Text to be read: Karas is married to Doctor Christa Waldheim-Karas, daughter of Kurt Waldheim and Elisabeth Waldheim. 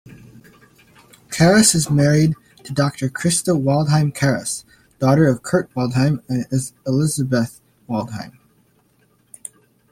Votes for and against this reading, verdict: 1, 2, rejected